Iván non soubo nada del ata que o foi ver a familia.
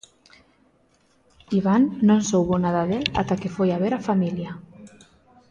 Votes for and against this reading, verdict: 0, 2, rejected